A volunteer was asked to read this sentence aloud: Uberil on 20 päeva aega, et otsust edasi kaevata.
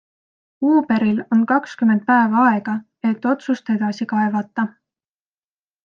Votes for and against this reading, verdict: 0, 2, rejected